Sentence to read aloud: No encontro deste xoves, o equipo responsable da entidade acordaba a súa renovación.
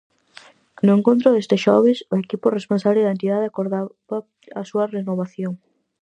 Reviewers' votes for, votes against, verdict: 0, 4, rejected